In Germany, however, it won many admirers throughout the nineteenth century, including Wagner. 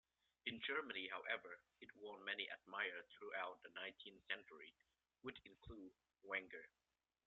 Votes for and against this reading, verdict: 0, 2, rejected